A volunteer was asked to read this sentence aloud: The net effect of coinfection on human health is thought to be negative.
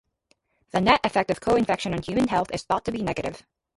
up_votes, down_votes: 0, 2